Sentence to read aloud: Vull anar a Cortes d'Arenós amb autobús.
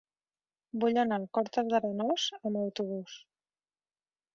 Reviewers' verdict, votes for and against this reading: rejected, 1, 3